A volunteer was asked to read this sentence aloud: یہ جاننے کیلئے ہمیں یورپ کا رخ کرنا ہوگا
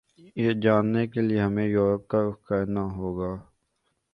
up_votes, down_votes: 2, 0